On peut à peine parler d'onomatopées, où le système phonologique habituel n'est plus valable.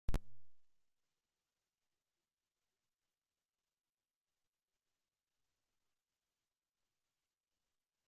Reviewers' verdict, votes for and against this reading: rejected, 0, 2